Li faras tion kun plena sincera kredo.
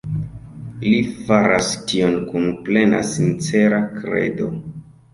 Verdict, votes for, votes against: accepted, 2, 1